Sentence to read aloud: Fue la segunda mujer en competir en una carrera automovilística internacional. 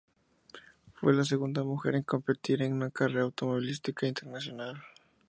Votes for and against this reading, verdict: 0, 2, rejected